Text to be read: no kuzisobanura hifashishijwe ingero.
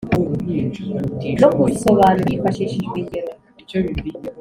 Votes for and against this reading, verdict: 2, 0, accepted